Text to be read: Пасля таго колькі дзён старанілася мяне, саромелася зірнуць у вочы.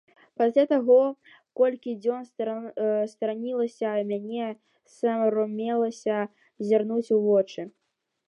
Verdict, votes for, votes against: rejected, 0, 2